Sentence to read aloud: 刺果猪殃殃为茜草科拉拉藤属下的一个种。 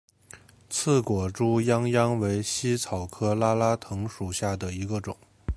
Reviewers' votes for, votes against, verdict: 6, 0, accepted